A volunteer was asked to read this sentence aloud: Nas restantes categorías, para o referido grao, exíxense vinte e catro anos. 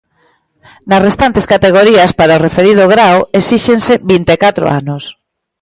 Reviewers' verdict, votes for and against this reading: accepted, 2, 0